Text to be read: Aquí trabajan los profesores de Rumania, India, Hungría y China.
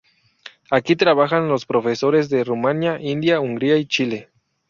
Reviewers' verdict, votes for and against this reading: rejected, 0, 2